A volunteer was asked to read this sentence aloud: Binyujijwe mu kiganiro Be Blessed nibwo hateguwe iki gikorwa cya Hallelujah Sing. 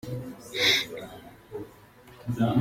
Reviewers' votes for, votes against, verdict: 0, 2, rejected